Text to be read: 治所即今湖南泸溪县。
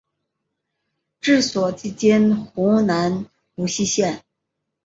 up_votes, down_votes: 2, 0